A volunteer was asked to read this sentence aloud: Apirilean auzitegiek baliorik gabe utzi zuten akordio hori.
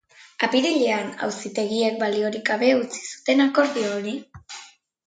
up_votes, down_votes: 2, 0